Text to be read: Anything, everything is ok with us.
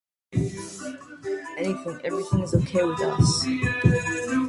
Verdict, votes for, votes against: rejected, 0, 2